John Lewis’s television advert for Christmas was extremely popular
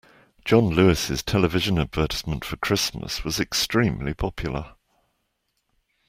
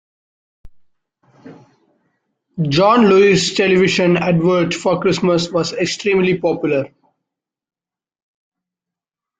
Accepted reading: second